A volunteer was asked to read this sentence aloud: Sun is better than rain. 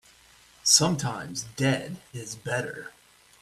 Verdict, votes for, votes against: rejected, 0, 2